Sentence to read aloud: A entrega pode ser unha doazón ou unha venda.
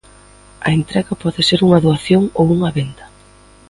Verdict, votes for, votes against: rejected, 0, 2